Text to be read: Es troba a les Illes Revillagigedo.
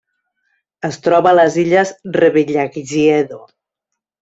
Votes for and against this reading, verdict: 1, 2, rejected